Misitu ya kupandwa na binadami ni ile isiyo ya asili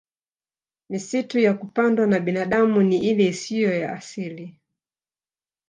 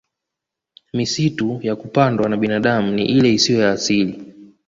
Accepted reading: second